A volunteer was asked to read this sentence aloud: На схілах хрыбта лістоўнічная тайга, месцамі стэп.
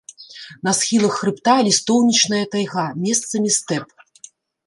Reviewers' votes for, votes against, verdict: 3, 0, accepted